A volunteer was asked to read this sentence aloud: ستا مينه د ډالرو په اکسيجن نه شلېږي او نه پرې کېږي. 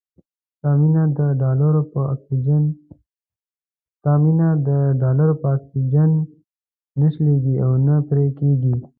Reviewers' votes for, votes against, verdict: 1, 2, rejected